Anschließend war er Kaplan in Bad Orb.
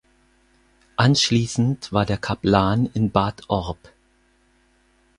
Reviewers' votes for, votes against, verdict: 0, 4, rejected